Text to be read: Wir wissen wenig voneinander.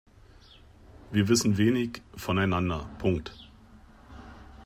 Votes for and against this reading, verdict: 2, 1, accepted